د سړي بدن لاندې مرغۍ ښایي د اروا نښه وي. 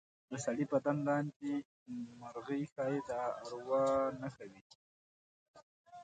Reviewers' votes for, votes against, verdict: 2, 1, accepted